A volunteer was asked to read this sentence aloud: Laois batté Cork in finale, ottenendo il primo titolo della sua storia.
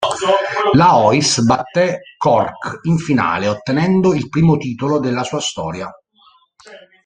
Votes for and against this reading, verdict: 1, 2, rejected